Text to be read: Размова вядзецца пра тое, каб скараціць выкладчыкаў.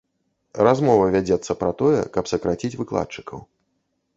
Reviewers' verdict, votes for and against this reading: rejected, 0, 2